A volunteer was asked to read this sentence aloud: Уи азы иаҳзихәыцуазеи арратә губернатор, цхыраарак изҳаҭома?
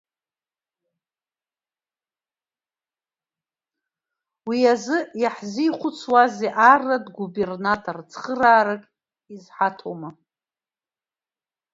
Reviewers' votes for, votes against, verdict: 1, 2, rejected